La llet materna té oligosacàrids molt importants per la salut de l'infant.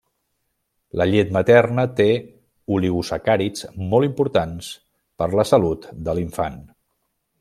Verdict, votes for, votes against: accepted, 2, 0